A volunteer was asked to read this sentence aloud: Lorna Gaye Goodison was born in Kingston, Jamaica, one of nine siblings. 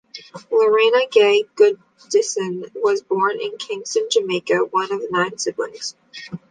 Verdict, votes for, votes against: rejected, 1, 2